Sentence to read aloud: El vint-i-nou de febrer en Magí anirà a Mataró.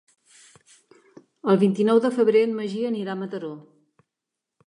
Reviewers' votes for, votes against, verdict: 4, 0, accepted